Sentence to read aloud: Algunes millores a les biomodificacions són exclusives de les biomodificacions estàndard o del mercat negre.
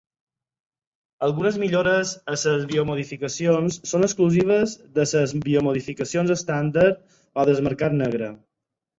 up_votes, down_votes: 0, 4